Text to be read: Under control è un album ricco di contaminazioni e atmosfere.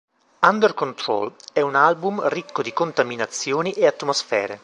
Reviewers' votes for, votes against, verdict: 2, 0, accepted